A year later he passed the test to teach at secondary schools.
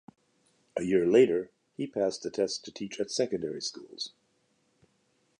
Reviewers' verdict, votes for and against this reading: accepted, 2, 0